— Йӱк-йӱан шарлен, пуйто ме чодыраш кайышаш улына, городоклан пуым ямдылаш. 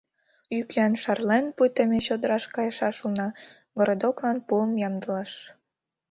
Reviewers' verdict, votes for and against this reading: accepted, 2, 0